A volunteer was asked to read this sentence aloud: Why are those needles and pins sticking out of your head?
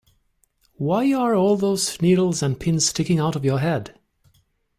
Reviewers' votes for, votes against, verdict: 1, 2, rejected